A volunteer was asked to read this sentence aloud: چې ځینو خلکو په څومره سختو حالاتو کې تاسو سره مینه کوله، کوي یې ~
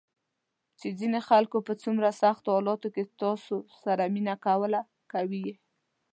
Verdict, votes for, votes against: accepted, 2, 0